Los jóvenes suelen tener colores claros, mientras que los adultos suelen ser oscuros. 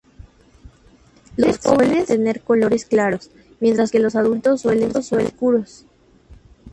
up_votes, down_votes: 2, 2